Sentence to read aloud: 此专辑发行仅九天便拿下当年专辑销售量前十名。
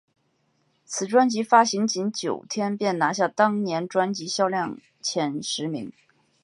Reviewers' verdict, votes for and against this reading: accepted, 2, 0